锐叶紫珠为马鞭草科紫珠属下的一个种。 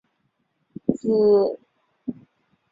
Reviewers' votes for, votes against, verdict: 0, 2, rejected